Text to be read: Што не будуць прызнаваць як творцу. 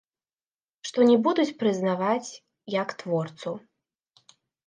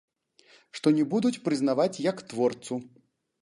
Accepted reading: second